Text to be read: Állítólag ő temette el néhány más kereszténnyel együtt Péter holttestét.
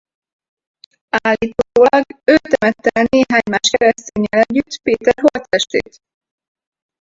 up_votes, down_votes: 0, 4